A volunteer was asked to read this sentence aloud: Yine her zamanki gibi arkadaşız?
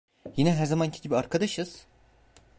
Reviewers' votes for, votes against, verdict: 2, 0, accepted